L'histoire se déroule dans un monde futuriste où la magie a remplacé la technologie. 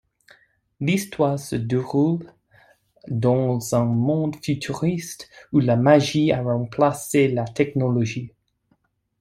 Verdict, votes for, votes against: accepted, 2, 0